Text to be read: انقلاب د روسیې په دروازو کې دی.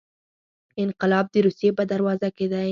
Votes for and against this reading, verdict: 4, 0, accepted